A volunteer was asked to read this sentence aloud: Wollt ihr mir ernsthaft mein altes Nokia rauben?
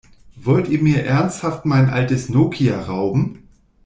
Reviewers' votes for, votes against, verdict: 2, 0, accepted